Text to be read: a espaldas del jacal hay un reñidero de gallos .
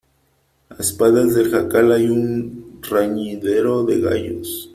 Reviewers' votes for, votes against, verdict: 1, 2, rejected